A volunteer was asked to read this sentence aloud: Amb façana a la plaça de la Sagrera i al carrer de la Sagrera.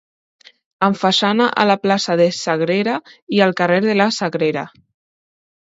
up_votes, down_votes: 0, 2